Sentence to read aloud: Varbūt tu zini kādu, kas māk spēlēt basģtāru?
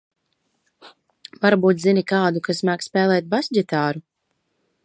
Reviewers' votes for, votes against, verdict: 0, 2, rejected